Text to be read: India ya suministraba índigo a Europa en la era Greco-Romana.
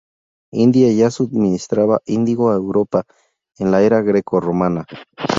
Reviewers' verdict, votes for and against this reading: rejected, 0, 2